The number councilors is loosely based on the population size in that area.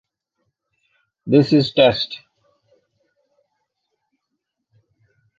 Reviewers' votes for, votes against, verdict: 0, 2, rejected